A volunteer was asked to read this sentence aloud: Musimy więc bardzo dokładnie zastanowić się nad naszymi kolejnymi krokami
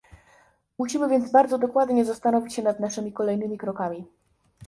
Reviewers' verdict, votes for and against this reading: accepted, 2, 0